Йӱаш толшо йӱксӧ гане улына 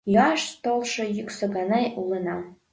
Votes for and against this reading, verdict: 2, 1, accepted